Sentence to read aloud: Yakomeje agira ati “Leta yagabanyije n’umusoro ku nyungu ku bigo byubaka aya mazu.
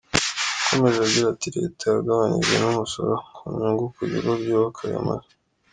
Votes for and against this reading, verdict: 2, 0, accepted